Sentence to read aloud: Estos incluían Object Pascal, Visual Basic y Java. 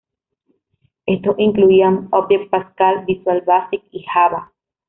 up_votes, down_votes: 2, 0